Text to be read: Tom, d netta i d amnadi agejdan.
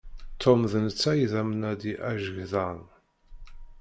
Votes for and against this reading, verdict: 0, 2, rejected